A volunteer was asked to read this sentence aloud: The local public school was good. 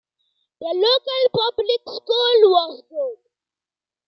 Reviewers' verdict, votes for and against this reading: accepted, 2, 0